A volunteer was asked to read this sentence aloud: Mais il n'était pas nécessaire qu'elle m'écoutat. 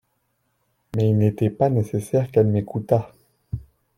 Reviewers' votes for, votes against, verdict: 2, 0, accepted